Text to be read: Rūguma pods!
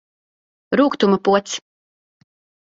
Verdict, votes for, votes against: rejected, 2, 4